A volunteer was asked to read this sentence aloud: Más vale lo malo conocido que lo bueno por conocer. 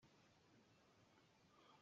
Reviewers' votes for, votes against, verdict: 0, 2, rejected